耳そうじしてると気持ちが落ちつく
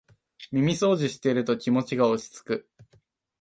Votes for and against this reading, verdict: 3, 1, accepted